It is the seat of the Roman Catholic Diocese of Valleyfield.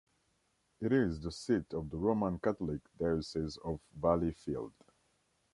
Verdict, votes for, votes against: accepted, 3, 0